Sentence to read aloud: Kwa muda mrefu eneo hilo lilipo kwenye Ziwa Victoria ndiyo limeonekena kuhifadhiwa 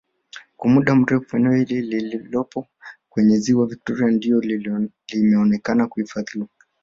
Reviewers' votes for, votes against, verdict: 1, 2, rejected